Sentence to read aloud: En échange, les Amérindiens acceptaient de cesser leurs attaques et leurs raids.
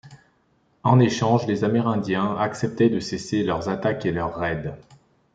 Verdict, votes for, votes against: accepted, 2, 0